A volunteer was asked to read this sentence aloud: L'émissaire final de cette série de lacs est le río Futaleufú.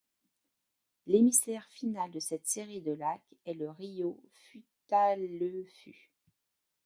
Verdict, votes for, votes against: rejected, 1, 2